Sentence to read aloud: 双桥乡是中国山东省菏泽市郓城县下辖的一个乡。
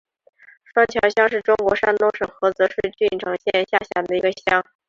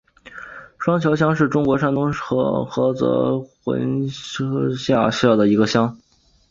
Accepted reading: first